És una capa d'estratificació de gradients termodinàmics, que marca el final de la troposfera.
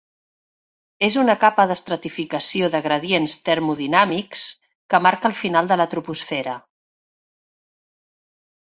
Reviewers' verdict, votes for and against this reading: accepted, 3, 0